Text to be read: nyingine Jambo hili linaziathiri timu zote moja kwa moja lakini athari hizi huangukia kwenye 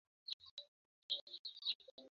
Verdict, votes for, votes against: rejected, 1, 2